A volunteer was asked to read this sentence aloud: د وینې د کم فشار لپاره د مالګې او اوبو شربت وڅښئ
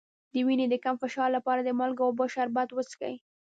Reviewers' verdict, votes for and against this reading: accepted, 2, 0